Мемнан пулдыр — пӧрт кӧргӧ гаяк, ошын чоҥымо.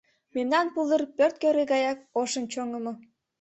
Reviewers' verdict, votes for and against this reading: accepted, 2, 0